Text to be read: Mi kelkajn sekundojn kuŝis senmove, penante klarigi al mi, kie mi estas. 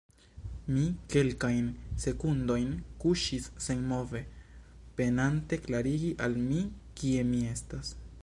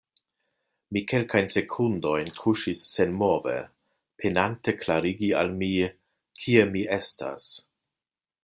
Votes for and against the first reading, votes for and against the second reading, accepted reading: 1, 2, 2, 0, second